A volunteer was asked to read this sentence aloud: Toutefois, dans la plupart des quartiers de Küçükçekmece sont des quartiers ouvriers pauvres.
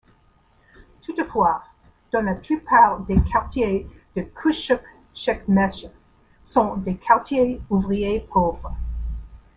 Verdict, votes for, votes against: accepted, 2, 0